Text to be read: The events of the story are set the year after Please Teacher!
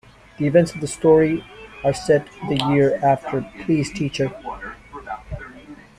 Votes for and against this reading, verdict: 0, 2, rejected